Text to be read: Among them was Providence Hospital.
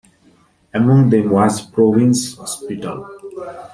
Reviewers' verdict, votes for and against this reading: accepted, 2, 1